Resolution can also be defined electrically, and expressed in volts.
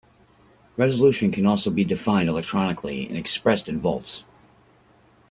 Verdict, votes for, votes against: rejected, 1, 2